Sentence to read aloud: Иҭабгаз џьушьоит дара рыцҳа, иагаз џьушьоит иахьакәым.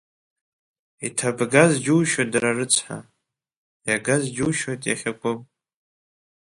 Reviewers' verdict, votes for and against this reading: rejected, 1, 2